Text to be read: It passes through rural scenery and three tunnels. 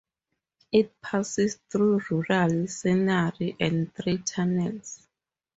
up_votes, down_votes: 2, 2